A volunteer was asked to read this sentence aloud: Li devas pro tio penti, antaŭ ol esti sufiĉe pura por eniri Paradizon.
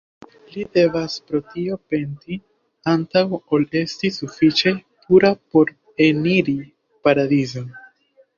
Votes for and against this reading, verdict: 1, 2, rejected